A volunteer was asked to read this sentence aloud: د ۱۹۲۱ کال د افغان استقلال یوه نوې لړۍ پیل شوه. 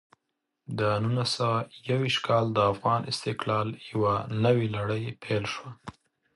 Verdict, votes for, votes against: rejected, 0, 2